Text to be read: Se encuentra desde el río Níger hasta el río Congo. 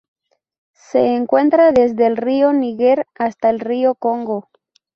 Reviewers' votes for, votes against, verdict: 2, 2, rejected